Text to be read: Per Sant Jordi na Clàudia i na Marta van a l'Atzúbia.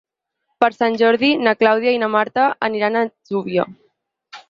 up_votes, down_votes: 0, 4